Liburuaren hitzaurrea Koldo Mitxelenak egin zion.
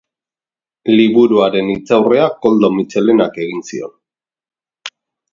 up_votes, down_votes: 2, 0